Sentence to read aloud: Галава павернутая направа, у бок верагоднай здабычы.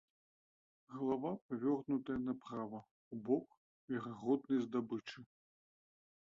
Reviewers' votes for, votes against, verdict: 0, 2, rejected